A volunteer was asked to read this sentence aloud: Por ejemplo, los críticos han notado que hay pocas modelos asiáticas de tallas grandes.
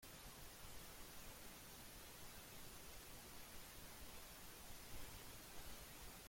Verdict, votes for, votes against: rejected, 0, 2